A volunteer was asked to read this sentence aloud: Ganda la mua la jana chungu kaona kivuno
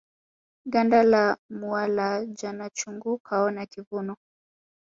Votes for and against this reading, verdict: 0, 2, rejected